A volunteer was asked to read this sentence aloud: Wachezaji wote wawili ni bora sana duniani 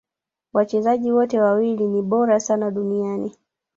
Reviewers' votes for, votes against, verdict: 2, 0, accepted